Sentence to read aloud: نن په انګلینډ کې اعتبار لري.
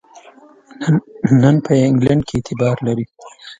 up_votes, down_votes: 1, 2